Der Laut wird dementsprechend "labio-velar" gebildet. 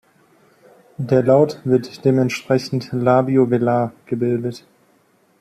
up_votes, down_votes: 2, 0